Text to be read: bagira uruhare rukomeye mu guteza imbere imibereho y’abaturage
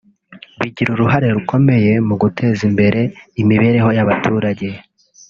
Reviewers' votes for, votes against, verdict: 3, 0, accepted